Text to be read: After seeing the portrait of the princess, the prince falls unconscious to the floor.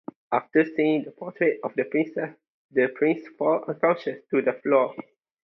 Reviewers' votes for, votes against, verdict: 2, 0, accepted